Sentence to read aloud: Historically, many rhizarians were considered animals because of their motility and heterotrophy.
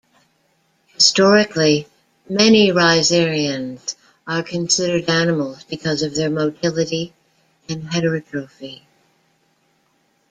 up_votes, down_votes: 0, 2